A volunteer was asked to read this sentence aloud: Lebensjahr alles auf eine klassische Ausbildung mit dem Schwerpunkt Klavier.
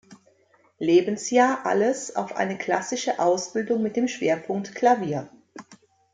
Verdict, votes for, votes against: accepted, 2, 0